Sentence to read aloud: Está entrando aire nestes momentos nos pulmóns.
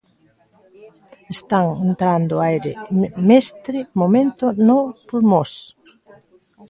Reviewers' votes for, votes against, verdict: 0, 2, rejected